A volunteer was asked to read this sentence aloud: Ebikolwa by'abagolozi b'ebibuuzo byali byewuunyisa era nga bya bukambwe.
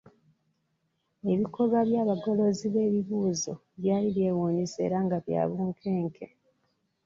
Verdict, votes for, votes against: rejected, 0, 2